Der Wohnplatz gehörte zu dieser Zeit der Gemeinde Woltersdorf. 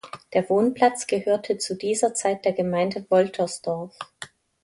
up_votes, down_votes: 2, 0